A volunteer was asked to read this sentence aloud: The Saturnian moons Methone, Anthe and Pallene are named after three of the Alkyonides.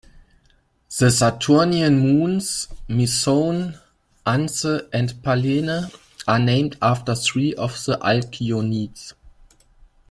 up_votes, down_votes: 1, 2